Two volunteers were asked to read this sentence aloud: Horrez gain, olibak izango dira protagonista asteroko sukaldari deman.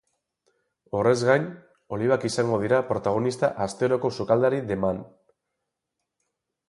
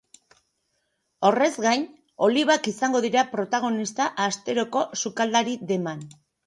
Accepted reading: second